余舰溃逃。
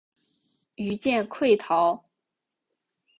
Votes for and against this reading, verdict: 2, 0, accepted